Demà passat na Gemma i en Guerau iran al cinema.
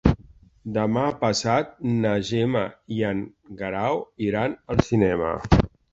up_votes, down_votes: 3, 0